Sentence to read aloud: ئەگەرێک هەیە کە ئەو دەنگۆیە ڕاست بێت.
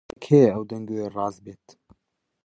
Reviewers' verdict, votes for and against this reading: rejected, 0, 2